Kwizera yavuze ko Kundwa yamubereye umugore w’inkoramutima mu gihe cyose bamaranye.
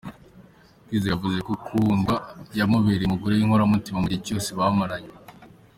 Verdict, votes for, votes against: accepted, 2, 0